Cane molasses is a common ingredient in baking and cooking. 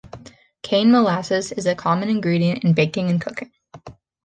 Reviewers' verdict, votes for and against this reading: accepted, 2, 0